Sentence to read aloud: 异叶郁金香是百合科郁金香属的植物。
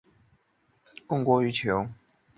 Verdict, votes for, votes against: rejected, 0, 3